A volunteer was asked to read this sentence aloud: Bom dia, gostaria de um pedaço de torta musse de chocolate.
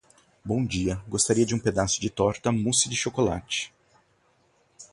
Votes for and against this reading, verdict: 0, 2, rejected